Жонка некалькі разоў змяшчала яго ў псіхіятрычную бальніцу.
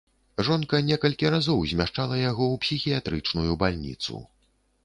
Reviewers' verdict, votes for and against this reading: accepted, 2, 0